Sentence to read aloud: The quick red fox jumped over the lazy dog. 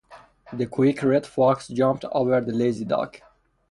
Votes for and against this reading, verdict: 2, 0, accepted